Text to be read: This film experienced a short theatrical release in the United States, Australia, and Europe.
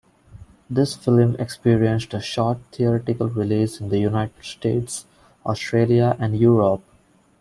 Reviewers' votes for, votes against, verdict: 2, 0, accepted